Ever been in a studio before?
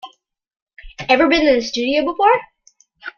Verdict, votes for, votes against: accepted, 2, 0